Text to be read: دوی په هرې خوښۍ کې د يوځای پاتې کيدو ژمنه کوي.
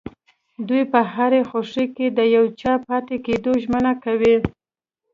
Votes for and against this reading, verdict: 1, 2, rejected